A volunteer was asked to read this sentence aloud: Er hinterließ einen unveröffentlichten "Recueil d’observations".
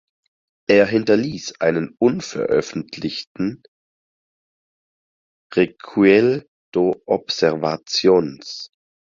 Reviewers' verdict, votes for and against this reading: rejected, 0, 6